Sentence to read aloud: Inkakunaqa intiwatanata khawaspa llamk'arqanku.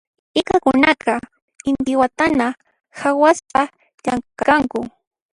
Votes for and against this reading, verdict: 2, 0, accepted